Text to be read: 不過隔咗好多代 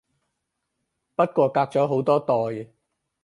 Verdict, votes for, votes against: accepted, 4, 0